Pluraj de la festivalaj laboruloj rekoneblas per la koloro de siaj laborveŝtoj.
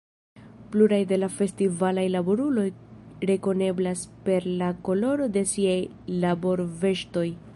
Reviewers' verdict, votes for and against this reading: accepted, 3, 0